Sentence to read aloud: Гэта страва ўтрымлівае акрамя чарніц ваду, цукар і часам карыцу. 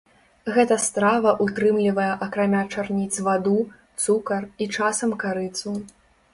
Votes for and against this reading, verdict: 2, 0, accepted